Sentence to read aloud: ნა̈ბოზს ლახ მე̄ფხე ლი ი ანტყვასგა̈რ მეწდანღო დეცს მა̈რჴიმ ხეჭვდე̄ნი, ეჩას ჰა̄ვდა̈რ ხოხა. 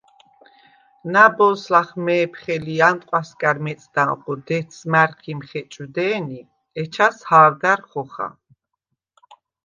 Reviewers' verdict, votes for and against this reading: accepted, 2, 0